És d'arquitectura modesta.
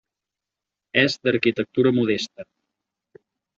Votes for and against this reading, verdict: 4, 0, accepted